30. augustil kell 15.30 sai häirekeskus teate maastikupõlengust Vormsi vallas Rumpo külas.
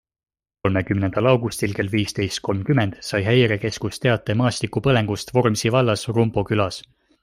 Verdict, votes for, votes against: rejected, 0, 2